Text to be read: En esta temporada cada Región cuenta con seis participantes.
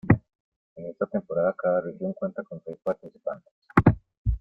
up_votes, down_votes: 2, 0